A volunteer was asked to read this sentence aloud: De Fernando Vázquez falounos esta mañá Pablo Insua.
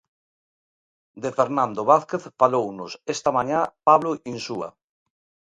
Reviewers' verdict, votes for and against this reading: rejected, 1, 2